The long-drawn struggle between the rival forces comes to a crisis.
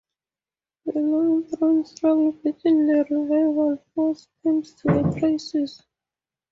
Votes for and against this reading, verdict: 0, 2, rejected